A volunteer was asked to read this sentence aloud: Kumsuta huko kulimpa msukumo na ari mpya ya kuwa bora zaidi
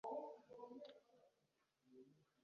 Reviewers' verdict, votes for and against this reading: rejected, 0, 2